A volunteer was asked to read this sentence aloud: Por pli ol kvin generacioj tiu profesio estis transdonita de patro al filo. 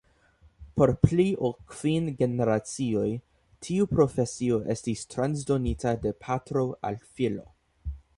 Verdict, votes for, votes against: accepted, 2, 0